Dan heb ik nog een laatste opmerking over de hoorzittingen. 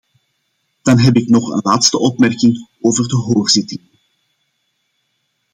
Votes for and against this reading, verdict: 1, 2, rejected